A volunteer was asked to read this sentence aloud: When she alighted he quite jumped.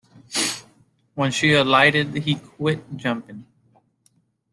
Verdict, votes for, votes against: rejected, 0, 2